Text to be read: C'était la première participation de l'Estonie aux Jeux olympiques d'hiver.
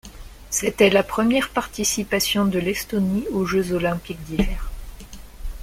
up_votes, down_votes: 0, 2